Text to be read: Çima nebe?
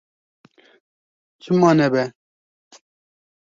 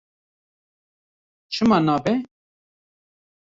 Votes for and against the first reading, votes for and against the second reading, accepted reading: 2, 0, 1, 2, first